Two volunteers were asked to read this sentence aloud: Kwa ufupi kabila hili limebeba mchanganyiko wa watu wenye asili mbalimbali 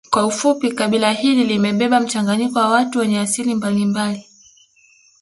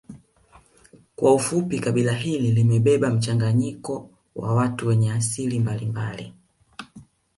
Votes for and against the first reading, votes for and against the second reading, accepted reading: 1, 2, 2, 1, second